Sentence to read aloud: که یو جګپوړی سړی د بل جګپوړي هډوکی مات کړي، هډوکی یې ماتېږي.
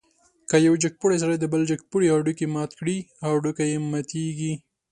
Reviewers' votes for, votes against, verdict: 2, 0, accepted